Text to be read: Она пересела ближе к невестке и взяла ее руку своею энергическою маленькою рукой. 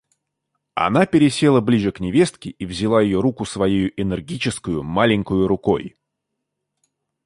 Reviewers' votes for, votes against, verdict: 2, 0, accepted